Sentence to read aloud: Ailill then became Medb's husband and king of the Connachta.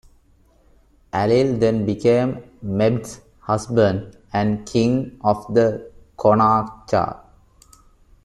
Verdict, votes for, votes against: accepted, 2, 0